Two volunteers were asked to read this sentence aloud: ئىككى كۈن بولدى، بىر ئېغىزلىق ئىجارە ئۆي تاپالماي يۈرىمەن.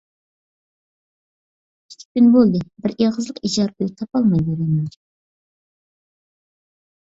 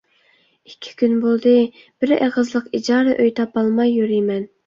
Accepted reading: second